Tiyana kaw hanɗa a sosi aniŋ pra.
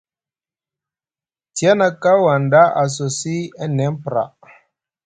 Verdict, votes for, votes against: rejected, 1, 2